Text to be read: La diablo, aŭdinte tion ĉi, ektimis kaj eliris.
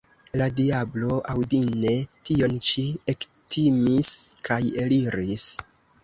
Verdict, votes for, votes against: rejected, 0, 2